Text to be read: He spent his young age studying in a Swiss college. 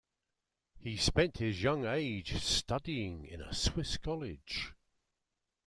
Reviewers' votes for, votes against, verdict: 2, 0, accepted